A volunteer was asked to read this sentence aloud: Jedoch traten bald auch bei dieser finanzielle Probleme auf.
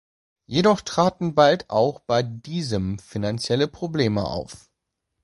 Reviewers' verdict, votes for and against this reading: rejected, 0, 2